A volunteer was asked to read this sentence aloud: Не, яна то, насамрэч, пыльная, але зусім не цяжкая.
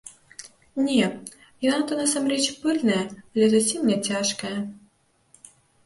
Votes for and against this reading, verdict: 0, 2, rejected